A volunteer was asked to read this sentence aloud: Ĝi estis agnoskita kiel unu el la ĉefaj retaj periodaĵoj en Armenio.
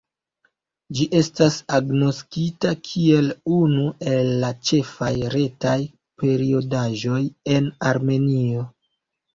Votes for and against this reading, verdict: 1, 2, rejected